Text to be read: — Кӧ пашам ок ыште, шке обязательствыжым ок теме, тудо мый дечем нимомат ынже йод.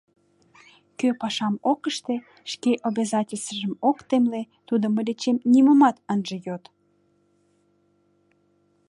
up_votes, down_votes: 1, 2